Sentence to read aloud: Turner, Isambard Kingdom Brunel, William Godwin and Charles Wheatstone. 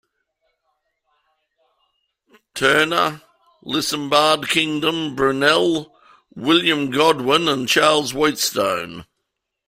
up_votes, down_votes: 1, 2